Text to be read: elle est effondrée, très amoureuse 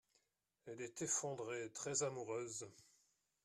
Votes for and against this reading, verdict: 1, 2, rejected